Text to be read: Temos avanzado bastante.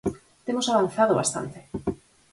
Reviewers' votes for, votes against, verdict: 4, 0, accepted